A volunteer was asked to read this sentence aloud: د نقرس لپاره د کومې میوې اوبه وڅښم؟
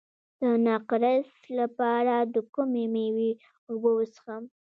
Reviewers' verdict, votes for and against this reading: rejected, 1, 2